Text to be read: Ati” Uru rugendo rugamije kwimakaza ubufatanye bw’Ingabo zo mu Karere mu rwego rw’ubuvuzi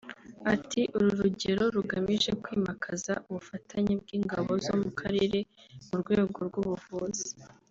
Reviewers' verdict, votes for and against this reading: rejected, 1, 4